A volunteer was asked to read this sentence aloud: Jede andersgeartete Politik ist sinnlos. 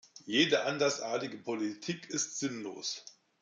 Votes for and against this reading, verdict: 0, 2, rejected